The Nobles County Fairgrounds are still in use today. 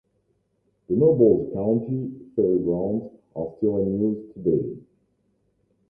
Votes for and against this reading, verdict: 2, 0, accepted